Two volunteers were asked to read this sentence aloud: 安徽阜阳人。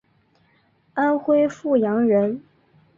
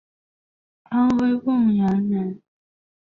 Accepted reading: first